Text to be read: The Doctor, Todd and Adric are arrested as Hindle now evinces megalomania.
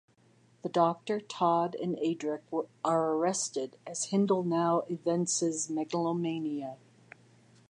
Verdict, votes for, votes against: rejected, 1, 2